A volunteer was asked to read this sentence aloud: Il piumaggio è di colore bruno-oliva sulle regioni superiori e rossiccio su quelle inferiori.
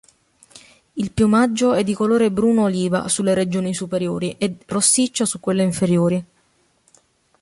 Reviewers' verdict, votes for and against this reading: accepted, 2, 0